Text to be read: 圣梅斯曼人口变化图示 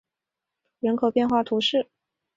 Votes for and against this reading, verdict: 0, 3, rejected